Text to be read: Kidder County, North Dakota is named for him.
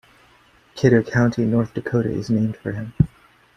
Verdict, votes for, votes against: accepted, 2, 1